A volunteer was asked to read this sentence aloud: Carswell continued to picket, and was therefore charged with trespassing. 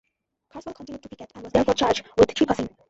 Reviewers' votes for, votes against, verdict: 0, 2, rejected